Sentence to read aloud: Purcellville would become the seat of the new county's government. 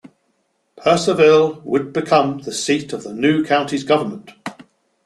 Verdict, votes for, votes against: accepted, 2, 0